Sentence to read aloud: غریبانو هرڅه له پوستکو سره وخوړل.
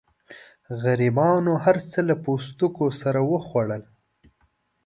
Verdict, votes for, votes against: accepted, 2, 0